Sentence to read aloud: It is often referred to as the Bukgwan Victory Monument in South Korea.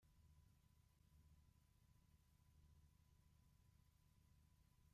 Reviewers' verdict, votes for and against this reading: rejected, 0, 2